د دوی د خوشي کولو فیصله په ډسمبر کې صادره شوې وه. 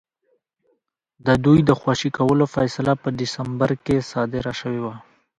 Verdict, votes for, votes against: accepted, 2, 1